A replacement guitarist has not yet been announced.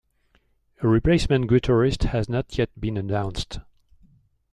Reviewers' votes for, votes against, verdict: 2, 0, accepted